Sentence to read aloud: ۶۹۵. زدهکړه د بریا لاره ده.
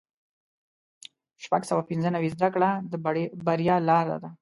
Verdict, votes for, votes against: rejected, 0, 2